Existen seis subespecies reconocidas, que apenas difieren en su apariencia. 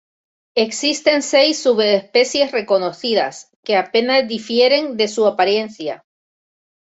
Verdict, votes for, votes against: rejected, 0, 2